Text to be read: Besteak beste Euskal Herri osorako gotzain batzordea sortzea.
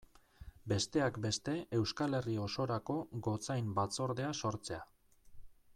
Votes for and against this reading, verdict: 2, 0, accepted